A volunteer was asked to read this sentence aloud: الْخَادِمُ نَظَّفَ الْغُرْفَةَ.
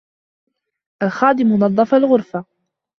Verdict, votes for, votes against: accepted, 2, 0